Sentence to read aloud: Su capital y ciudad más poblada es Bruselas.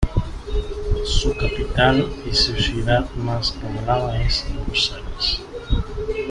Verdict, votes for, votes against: rejected, 2, 3